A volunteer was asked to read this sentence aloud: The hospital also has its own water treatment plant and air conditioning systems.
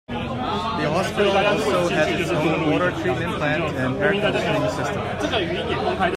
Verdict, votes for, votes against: rejected, 0, 2